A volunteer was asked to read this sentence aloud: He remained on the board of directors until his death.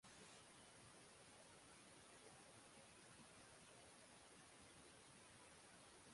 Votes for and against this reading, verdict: 0, 6, rejected